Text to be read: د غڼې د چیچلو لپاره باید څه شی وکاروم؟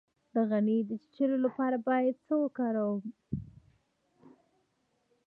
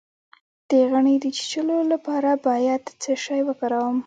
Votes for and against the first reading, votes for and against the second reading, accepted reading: 0, 2, 2, 0, second